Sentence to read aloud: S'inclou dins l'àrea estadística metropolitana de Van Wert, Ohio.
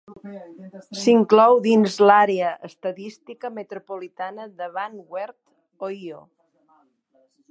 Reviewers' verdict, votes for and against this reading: rejected, 1, 3